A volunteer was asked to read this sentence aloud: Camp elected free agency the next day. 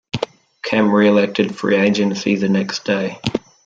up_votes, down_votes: 1, 2